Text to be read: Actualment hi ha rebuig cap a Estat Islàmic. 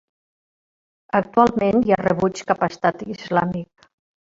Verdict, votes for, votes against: rejected, 0, 2